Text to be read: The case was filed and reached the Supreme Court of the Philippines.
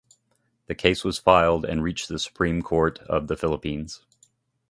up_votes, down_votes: 2, 0